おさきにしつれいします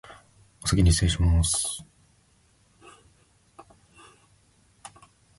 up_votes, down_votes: 0, 2